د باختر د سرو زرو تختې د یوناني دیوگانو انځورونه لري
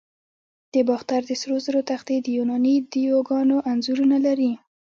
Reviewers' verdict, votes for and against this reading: accepted, 2, 0